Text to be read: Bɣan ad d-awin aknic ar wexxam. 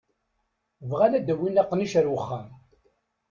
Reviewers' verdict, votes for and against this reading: rejected, 1, 2